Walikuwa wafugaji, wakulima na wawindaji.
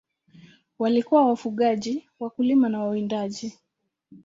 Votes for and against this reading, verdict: 2, 0, accepted